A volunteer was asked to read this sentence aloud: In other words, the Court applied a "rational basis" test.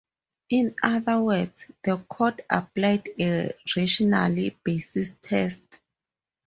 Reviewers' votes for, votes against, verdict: 0, 2, rejected